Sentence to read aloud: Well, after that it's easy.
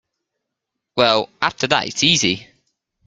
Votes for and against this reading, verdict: 2, 0, accepted